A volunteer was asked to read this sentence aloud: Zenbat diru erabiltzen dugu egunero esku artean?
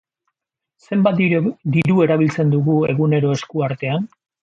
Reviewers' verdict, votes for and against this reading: rejected, 1, 2